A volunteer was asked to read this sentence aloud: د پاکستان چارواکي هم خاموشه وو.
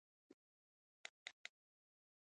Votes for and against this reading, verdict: 1, 2, rejected